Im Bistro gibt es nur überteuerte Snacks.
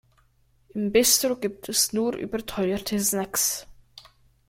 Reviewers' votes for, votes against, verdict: 1, 3, rejected